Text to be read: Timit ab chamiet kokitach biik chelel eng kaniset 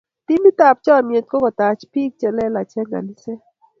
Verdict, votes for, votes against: accepted, 2, 0